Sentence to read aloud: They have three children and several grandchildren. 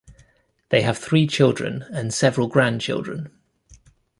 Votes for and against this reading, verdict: 3, 0, accepted